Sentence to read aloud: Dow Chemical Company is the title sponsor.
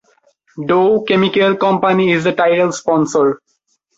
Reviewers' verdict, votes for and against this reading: accepted, 2, 0